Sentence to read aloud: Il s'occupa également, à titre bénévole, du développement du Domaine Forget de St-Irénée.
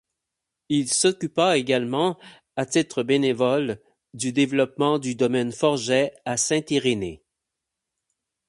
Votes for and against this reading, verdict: 0, 8, rejected